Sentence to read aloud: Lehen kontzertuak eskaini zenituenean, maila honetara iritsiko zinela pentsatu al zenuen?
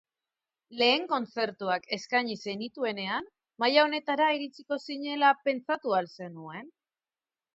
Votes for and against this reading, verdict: 4, 0, accepted